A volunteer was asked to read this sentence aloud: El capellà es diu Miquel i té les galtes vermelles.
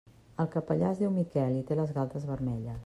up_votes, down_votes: 0, 2